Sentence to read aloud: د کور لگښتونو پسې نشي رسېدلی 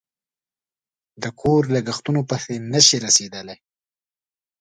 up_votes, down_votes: 2, 0